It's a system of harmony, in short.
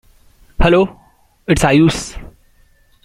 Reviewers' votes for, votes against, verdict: 0, 2, rejected